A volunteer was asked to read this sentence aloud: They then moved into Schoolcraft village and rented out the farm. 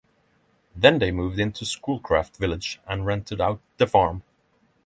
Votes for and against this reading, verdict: 3, 3, rejected